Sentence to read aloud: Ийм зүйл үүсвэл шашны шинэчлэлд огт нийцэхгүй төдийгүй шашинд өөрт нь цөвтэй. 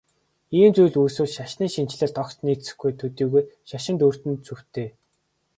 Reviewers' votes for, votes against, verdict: 3, 0, accepted